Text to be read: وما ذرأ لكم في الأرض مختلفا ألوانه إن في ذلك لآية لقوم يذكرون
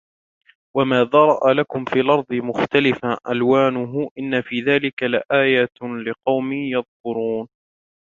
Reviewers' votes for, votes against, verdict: 1, 2, rejected